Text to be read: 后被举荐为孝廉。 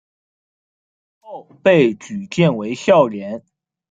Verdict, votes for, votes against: rejected, 0, 2